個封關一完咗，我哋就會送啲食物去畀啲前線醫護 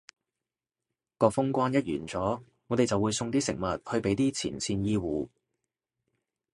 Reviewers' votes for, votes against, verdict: 2, 0, accepted